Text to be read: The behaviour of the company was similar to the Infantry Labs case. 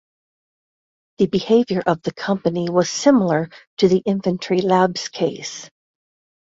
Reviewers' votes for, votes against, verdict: 2, 0, accepted